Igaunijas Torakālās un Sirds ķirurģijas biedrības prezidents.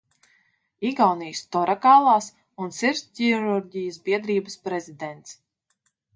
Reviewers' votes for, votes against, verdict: 1, 2, rejected